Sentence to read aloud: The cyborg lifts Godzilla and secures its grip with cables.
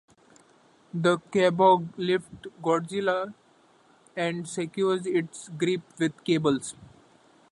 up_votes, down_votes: 0, 2